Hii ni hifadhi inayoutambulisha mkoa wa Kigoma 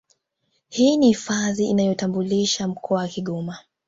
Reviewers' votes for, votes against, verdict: 2, 0, accepted